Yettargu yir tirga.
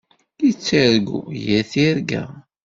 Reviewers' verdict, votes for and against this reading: accepted, 2, 0